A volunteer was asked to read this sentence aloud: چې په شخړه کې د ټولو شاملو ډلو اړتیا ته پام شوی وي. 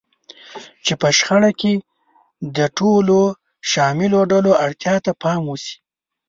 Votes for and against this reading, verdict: 1, 2, rejected